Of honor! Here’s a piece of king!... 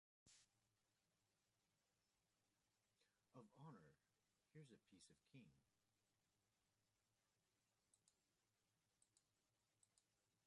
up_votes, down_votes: 1, 2